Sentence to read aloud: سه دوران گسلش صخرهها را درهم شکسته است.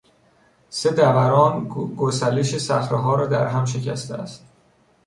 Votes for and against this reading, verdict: 1, 2, rejected